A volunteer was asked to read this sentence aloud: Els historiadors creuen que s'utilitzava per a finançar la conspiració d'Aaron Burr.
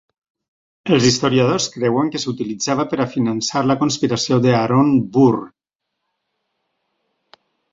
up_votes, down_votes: 0, 2